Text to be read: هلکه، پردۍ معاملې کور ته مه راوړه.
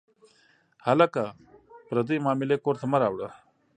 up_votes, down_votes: 2, 0